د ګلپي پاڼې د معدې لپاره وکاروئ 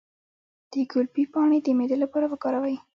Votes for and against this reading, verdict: 0, 2, rejected